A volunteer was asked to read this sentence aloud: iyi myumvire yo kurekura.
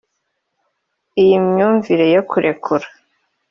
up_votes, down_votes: 2, 0